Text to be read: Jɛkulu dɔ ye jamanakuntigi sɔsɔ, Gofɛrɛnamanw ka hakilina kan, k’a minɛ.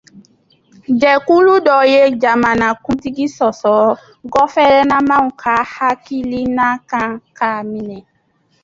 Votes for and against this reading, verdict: 1, 2, rejected